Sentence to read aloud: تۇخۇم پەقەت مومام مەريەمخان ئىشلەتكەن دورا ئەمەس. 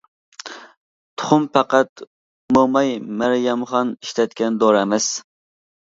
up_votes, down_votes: 0, 2